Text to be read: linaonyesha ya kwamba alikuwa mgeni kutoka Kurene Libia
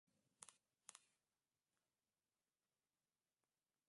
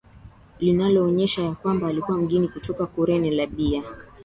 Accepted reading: second